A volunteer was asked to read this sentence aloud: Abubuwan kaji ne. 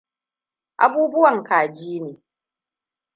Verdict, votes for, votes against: accepted, 2, 0